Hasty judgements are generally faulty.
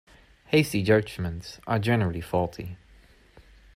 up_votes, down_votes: 2, 0